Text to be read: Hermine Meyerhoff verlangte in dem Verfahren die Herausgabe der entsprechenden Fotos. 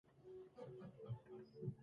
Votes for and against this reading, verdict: 0, 2, rejected